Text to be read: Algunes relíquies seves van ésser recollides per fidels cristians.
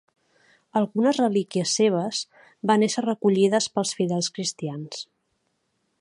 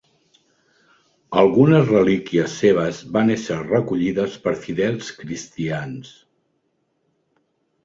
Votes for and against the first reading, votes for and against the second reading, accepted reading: 0, 2, 3, 0, second